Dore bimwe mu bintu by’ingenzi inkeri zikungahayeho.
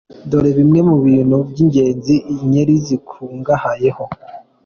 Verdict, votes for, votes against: accepted, 2, 0